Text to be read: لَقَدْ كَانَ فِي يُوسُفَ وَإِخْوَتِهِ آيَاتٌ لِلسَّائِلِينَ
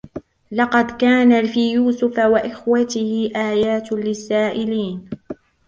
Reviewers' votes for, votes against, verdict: 1, 2, rejected